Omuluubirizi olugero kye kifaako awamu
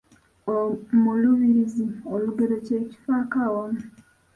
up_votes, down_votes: 1, 2